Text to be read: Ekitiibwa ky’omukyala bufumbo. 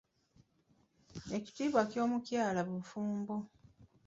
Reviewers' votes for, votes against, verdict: 0, 2, rejected